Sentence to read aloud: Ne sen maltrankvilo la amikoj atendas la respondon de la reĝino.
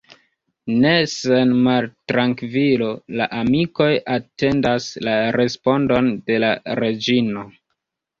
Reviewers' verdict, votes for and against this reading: rejected, 1, 2